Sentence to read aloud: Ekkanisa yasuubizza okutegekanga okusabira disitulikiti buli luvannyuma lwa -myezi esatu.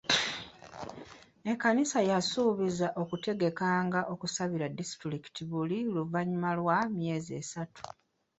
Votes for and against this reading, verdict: 0, 2, rejected